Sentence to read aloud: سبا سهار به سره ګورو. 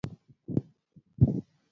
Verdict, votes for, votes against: rejected, 0, 2